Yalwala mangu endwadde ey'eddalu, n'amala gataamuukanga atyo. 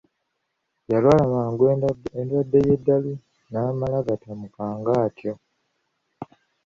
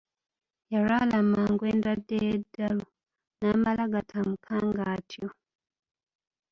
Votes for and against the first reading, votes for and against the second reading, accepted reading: 1, 2, 2, 0, second